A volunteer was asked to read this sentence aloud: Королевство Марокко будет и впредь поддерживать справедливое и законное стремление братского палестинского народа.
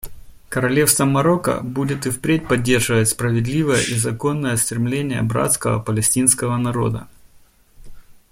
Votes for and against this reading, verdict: 2, 0, accepted